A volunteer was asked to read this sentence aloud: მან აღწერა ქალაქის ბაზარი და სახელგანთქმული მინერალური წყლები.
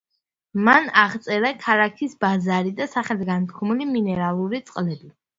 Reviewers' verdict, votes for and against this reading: accepted, 2, 0